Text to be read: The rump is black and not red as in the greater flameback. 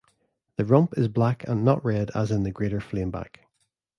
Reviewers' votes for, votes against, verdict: 2, 0, accepted